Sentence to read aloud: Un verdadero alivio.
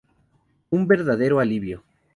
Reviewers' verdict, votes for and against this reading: accepted, 2, 0